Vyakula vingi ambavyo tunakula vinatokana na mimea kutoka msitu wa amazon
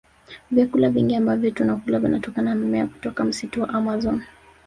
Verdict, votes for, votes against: rejected, 1, 2